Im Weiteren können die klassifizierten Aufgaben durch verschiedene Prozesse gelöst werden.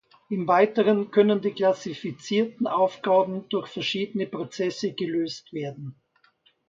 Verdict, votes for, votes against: accepted, 2, 0